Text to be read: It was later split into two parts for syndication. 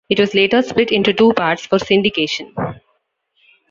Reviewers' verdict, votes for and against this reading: accepted, 2, 0